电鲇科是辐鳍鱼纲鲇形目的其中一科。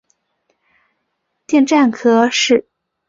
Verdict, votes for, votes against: rejected, 2, 8